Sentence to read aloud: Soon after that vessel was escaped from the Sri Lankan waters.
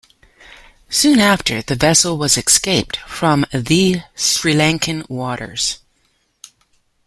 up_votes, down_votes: 1, 2